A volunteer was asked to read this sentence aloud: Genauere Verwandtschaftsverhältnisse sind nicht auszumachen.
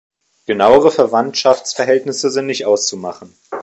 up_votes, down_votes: 0, 2